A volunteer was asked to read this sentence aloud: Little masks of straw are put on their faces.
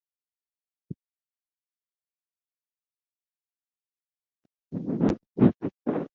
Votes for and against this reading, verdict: 0, 2, rejected